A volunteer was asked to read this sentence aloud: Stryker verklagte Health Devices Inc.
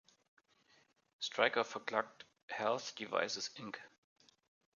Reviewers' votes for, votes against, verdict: 1, 2, rejected